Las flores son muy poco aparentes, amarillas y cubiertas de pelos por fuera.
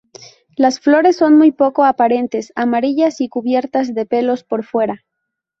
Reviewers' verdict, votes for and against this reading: accepted, 2, 0